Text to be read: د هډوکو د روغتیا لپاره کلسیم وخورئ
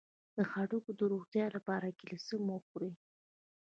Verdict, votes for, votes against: rejected, 0, 2